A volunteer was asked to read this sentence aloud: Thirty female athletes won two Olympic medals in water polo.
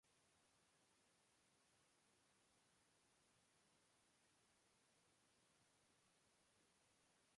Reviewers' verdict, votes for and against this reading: rejected, 0, 3